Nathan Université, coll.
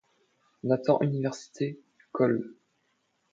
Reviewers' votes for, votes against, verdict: 2, 0, accepted